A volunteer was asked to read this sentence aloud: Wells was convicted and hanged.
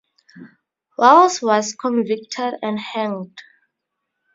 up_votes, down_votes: 0, 2